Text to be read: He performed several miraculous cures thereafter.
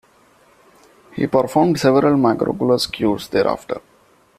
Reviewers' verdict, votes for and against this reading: rejected, 0, 2